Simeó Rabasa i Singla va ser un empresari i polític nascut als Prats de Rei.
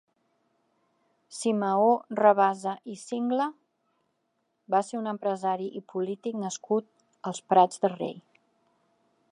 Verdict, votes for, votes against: accepted, 2, 0